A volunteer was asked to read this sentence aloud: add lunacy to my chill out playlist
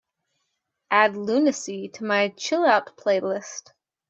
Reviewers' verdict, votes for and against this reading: accepted, 2, 0